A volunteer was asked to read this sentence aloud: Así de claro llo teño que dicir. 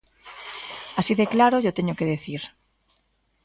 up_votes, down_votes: 2, 1